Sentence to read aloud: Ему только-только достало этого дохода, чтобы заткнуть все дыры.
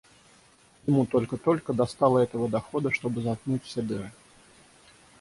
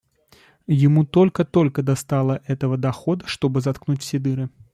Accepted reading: second